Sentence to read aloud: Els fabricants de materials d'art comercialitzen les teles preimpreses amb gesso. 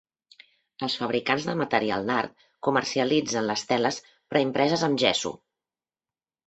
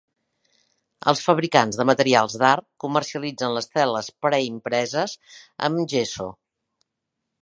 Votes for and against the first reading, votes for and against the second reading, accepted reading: 1, 2, 3, 0, second